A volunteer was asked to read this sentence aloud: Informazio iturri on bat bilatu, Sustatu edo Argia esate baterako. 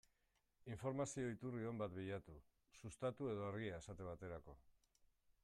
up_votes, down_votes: 2, 1